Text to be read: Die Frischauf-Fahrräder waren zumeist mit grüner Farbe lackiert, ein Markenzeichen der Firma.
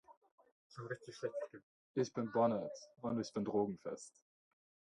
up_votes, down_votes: 0, 2